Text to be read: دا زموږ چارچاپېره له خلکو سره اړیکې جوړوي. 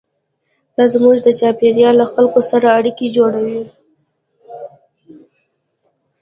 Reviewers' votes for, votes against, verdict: 2, 0, accepted